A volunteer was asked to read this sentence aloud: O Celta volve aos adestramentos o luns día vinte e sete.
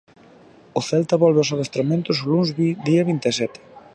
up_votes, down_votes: 1, 2